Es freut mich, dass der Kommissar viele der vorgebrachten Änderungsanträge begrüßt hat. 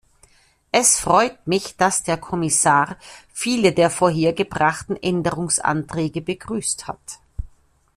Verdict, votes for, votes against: rejected, 1, 2